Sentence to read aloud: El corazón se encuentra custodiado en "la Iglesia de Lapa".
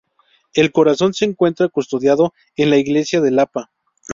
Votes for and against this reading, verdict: 0, 2, rejected